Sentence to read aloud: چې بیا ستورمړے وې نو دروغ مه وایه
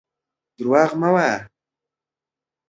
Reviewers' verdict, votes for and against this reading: rejected, 0, 2